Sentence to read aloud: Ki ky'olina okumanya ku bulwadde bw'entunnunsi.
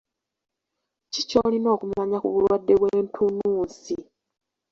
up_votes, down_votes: 0, 3